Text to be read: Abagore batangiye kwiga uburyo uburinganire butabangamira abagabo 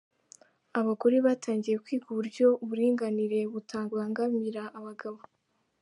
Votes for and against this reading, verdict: 2, 0, accepted